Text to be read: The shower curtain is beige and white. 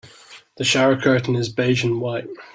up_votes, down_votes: 2, 0